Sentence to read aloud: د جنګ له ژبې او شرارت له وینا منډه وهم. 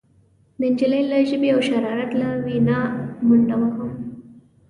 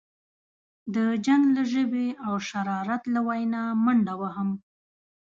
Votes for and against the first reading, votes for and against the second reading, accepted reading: 1, 2, 2, 0, second